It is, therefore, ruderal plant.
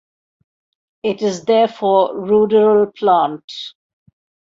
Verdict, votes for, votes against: accepted, 2, 0